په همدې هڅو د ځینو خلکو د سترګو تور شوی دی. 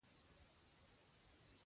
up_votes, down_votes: 2, 1